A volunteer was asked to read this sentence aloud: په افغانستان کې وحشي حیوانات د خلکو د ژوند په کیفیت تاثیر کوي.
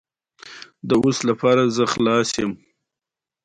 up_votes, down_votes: 2, 1